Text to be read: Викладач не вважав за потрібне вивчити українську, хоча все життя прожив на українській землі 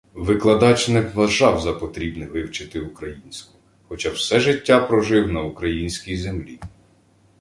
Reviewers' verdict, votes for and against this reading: accepted, 2, 0